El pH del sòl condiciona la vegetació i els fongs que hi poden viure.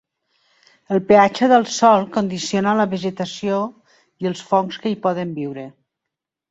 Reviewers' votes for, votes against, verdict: 1, 2, rejected